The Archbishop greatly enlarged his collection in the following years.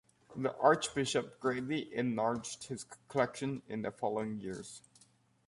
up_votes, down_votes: 1, 2